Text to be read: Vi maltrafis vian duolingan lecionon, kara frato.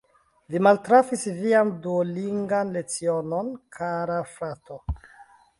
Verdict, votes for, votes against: accepted, 2, 0